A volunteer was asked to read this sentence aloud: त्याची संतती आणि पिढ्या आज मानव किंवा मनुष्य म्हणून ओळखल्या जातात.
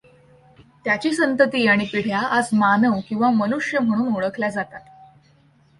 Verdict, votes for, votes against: accepted, 2, 0